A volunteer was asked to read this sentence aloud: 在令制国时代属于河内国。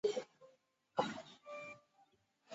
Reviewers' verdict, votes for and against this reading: rejected, 1, 4